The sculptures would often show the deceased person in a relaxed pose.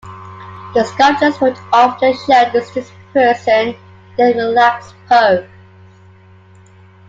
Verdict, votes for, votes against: rejected, 1, 2